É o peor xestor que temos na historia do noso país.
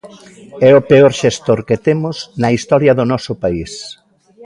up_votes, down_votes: 0, 2